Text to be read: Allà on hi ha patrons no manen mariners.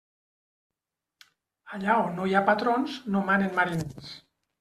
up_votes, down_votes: 1, 2